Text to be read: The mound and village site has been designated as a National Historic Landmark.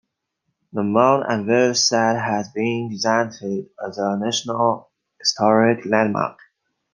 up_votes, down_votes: 0, 2